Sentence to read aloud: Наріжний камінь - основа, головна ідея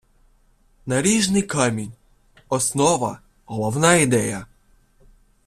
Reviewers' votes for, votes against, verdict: 2, 0, accepted